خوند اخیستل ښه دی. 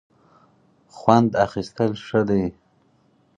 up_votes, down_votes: 4, 0